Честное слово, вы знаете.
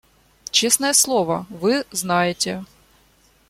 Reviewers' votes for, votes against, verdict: 2, 0, accepted